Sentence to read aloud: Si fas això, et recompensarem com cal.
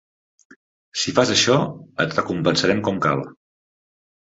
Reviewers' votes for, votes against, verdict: 3, 0, accepted